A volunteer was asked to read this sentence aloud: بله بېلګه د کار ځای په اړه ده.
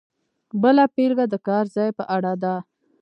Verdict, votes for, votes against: rejected, 1, 2